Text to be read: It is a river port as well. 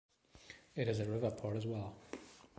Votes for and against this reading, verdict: 2, 1, accepted